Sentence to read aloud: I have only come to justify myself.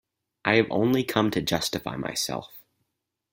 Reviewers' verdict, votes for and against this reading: accepted, 4, 2